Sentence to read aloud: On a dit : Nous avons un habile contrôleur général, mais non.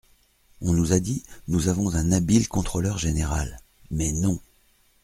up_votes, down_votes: 1, 2